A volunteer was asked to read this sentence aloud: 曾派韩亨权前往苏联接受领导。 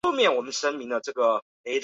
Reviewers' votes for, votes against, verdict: 0, 3, rejected